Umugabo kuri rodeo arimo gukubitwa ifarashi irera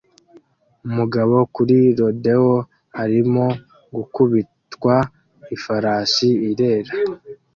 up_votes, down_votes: 2, 0